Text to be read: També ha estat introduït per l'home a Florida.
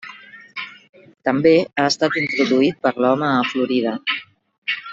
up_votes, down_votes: 1, 2